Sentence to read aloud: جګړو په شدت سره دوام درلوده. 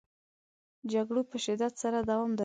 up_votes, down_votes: 1, 2